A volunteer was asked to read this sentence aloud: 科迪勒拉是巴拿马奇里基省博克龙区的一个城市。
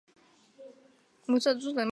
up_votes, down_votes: 0, 3